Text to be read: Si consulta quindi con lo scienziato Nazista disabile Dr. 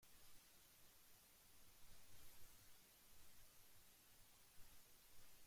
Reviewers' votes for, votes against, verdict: 0, 2, rejected